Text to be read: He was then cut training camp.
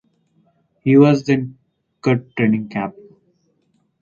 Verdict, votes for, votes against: accepted, 4, 0